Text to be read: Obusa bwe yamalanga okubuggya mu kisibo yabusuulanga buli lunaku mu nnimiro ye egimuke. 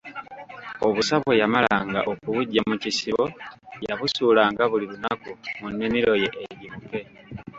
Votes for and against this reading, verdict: 0, 2, rejected